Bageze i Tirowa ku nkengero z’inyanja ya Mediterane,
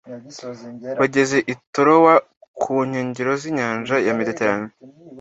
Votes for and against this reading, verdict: 2, 0, accepted